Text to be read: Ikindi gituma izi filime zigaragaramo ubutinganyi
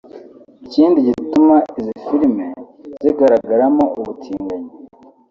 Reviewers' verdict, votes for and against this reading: accepted, 2, 0